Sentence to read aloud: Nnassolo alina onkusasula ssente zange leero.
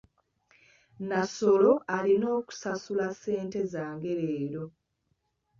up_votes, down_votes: 2, 1